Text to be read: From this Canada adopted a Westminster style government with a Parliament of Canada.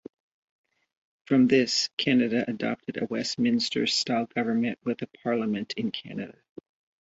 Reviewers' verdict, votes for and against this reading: rejected, 1, 3